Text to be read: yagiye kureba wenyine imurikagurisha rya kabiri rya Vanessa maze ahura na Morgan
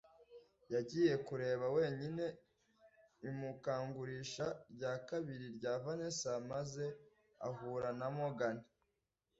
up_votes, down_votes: 1, 2